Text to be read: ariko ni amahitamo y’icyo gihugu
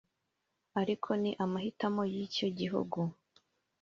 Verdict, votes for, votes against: rejected, 1, 2